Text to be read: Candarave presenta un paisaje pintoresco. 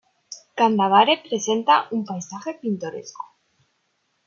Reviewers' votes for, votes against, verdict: 1, 2, rejected